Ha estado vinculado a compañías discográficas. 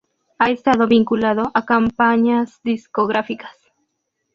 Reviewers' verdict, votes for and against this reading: accepted, 2, 0